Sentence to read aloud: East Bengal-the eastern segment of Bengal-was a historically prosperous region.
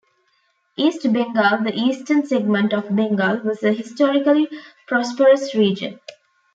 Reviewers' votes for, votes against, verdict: 2, 1, accepted